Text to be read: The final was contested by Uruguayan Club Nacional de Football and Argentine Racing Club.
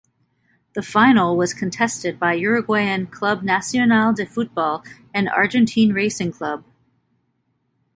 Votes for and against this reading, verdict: 2, 0, accepted